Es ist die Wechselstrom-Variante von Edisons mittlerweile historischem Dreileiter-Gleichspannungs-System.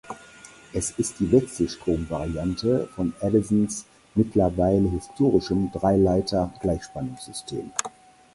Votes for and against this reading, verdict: 4, 0, accepted